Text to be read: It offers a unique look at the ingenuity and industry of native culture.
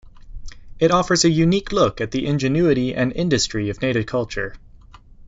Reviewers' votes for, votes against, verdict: 2, 0, accepted